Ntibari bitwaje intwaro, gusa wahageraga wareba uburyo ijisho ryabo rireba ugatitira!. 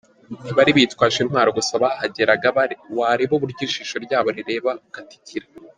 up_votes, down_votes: 1, 2